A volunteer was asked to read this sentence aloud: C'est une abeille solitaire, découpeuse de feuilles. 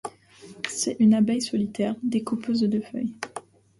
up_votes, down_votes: 2, 0